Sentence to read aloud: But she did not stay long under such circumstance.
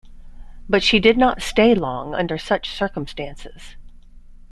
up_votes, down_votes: 0, 2